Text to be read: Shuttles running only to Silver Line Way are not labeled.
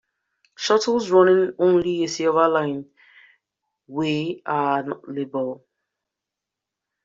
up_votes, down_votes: 0, 2